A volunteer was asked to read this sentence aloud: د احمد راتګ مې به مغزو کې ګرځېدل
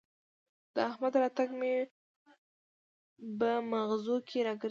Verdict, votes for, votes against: rejected, 0, 2